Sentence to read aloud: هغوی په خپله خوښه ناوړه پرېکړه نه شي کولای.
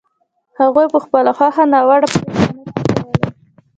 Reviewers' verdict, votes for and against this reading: rejected, 1, 2